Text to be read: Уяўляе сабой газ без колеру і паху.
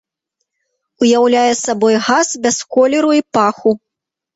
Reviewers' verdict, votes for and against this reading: accepted, 2, 1